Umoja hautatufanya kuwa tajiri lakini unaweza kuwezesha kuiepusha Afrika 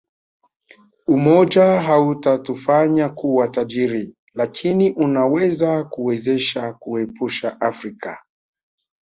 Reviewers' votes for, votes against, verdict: 2, 1, accepted